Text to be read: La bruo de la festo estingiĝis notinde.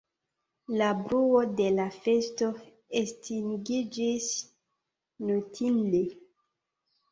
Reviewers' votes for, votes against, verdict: 3, 0, accepted